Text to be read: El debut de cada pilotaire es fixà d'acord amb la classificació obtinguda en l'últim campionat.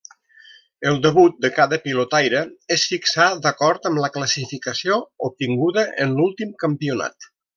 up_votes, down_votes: 2, 0